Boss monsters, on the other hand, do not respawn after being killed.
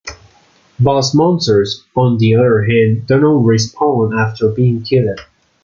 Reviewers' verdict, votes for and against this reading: accepted, 2, 0